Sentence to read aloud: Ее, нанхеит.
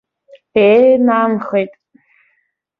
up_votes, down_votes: 2, 0